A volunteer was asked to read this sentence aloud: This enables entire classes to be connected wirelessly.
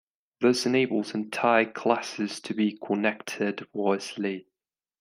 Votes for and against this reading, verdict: 0, 2, rejected